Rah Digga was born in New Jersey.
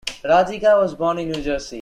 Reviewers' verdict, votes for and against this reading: accepted, 2, 0